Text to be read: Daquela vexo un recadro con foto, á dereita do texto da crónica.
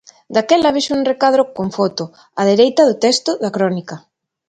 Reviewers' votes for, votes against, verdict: 2, 0, accepted